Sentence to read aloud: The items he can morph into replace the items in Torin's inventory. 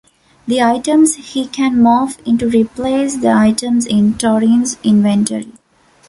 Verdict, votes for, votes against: rejected, 1, 2